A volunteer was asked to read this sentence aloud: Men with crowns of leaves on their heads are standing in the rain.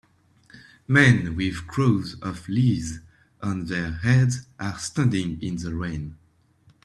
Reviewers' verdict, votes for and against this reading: rejected, 0, 2